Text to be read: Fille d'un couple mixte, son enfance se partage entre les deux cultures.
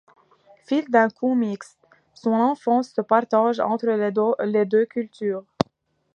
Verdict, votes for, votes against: rejected, 0, 2